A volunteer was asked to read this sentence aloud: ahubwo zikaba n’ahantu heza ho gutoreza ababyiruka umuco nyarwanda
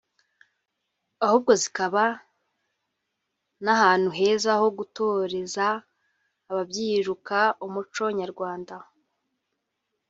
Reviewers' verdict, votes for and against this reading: accepted, 2, 1